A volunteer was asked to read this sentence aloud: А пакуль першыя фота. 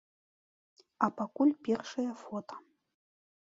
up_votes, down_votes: 2, 0